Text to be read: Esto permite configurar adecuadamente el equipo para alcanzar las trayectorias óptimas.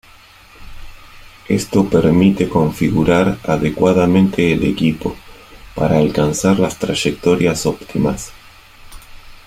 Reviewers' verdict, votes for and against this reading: rejected, 1, 2